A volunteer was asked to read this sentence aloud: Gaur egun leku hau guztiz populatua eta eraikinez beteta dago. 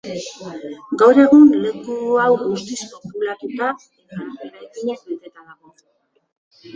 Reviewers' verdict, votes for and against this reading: rejected, 0, 2